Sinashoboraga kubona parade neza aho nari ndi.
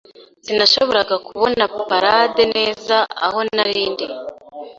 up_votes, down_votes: 2, 1